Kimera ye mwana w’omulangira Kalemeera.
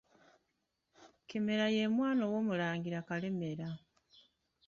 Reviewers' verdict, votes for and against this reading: rejected, 1, 2